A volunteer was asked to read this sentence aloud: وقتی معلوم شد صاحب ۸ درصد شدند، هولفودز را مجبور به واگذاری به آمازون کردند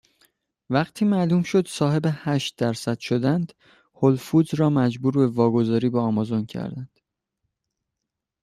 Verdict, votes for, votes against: rejected, 0, 2